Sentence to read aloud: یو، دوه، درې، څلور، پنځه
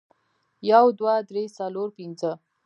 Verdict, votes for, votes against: rejected, 0, 2